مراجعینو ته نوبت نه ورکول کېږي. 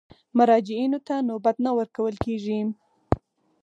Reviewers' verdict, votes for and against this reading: accepted, 4, 0